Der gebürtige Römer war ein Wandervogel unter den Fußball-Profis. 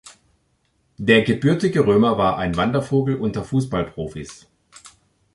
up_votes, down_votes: 1, 3